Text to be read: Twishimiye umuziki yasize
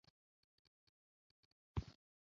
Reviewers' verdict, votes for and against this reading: rejected, 0, 2